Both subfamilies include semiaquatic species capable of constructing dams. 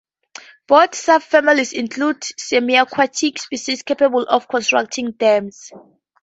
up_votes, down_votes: 2, 0